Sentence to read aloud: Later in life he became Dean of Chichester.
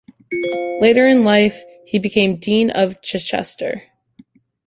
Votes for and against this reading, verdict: 1, 2, rejected